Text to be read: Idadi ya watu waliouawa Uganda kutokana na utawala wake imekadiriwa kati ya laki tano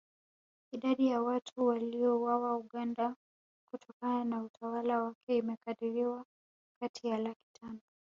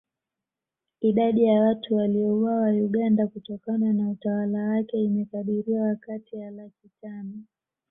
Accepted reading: second